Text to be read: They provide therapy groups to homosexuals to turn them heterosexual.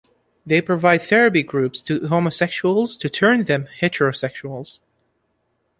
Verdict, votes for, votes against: rejected, 0, 2